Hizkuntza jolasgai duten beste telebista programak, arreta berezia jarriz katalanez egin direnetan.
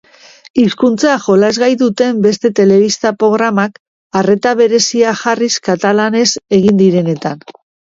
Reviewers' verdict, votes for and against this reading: rejected, 1, 2